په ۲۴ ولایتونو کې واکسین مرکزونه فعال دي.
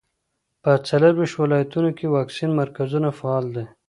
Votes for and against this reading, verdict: 0, 2, rejected